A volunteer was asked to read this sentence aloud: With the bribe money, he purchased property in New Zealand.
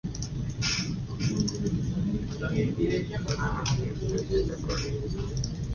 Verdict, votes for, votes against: rejected, 0, 2